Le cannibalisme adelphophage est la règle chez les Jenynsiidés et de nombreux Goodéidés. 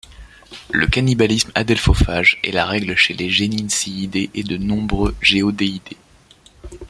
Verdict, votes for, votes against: rejected, 1, 2